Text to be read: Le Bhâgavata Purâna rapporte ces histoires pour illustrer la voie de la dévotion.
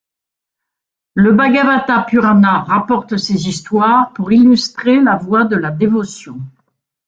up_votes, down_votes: 2, 1